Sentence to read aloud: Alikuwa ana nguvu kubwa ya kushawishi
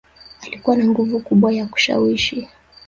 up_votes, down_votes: 4, 1